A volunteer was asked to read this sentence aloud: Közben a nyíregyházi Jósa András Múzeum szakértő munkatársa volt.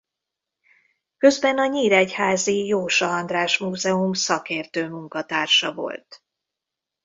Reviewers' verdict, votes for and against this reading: accepted, 2, 0